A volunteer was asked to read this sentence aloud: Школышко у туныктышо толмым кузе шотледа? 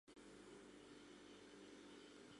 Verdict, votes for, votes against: rejected, 0, 2